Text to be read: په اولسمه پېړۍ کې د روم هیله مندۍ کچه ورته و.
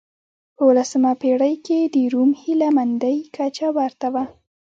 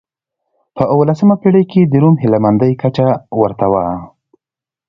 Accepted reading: second